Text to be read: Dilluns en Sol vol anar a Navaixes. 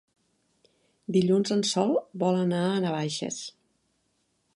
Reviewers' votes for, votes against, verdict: 3, 0, accepted